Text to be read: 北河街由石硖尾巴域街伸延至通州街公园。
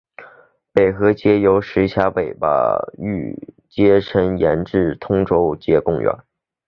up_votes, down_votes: 4, 0